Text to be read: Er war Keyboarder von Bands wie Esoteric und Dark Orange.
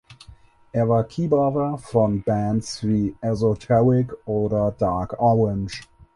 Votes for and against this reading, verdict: 0, 4, rejected